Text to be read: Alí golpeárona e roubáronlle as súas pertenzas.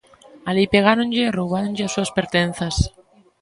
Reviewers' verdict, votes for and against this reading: rejected, 1, 2